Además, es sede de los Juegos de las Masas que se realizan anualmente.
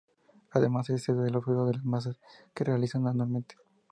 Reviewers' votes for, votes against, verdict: 0, 2, rejected